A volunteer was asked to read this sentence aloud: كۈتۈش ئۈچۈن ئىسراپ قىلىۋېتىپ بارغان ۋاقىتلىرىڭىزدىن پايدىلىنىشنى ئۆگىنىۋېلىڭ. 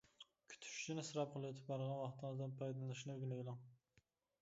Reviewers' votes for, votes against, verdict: 1, 2, rejected